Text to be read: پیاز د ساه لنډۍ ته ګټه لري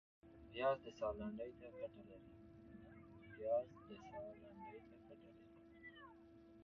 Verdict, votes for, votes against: rejected, 1, 2